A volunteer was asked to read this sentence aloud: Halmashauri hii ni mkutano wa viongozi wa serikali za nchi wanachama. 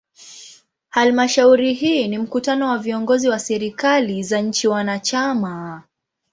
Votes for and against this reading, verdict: 2, 0, accepted